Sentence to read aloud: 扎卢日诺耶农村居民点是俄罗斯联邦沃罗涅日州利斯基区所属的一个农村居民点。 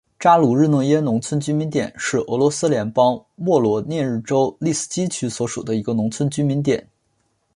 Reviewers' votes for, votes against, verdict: 2, 1, accepted